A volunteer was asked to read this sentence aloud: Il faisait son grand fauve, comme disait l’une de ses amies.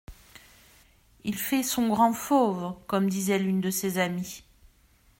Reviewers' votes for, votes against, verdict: 0, 2, rejected